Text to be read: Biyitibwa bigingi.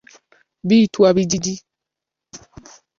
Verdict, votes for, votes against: rejected, 0, 2